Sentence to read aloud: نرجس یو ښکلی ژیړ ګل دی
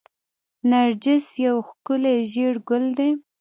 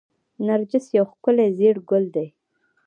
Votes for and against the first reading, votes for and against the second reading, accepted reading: 0, 2, 2, 0, second